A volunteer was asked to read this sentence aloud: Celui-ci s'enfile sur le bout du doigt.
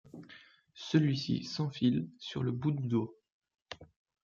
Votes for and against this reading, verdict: 1, 2, rejected